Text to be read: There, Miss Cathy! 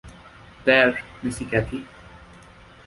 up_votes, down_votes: 1, 2